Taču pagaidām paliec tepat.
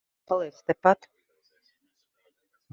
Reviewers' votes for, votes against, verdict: 0, 2, rejected